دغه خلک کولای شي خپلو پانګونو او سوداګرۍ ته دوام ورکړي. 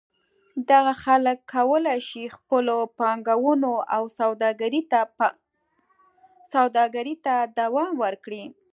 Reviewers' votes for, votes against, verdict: 0, 2, rejected